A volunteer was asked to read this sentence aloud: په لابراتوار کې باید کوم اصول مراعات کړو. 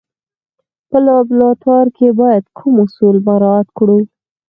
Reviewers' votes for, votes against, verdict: 4, 0, accepted